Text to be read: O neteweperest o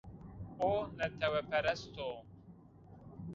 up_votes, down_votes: 1, 2